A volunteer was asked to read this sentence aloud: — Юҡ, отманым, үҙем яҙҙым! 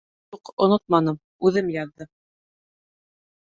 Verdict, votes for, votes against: rejected, 1, 2